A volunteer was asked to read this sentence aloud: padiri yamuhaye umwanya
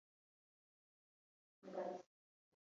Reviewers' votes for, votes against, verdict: 0, 2, rejected